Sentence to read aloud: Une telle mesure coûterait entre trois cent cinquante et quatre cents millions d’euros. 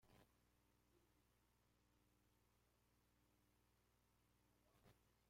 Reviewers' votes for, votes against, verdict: 0, 2, rejected